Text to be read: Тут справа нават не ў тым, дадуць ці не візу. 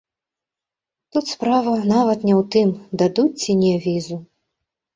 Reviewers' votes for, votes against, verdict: 3, 0, accepted